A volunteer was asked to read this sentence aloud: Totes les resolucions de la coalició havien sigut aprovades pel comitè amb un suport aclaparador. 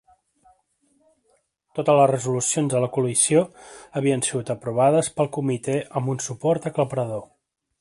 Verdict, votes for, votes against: accepted, 2, 0